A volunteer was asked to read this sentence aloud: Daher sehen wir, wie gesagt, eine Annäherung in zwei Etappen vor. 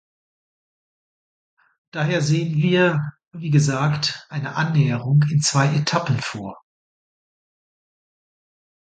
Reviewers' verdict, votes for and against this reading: accepted, 2, 0